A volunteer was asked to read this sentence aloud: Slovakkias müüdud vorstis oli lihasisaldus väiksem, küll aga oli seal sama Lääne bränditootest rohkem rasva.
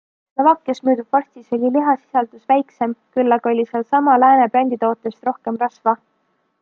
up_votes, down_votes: 2, 0